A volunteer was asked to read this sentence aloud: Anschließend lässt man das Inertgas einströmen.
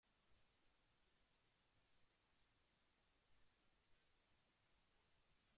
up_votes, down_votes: 0, 2